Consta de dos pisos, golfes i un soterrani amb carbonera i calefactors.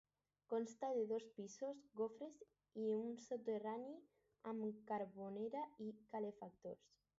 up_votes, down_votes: 4, 4